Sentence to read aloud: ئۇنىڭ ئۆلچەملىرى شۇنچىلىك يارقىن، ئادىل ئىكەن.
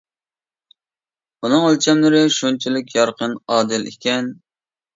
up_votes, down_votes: 2, 0